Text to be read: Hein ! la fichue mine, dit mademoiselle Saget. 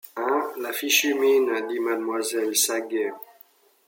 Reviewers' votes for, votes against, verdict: 1, 2, rejected